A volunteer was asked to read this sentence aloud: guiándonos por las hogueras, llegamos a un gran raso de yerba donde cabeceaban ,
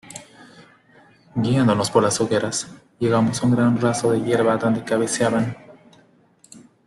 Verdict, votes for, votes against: rejected, 0, 2